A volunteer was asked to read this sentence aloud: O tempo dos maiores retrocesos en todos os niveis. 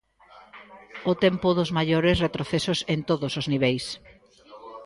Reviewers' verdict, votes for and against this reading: rejected, 1, 2